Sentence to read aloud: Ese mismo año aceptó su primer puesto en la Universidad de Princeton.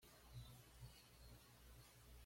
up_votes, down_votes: 1, 2